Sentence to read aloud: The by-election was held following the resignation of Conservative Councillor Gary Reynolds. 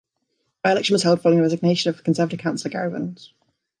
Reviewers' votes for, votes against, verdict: 0, 2, rejected